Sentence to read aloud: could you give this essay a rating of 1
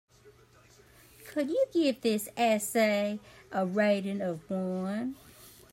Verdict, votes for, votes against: rejected, 0, 2